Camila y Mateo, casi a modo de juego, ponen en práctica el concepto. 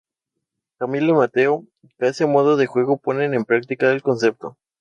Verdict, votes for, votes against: rejected, 0, 2